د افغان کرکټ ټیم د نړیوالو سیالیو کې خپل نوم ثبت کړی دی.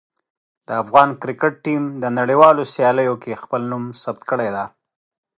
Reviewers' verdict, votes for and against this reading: accepted, 2, 0